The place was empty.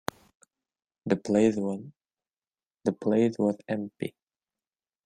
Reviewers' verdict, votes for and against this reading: rejected, 0, 2